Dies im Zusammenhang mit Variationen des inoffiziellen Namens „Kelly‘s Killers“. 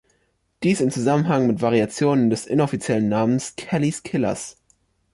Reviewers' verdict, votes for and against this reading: accepted, 2, 0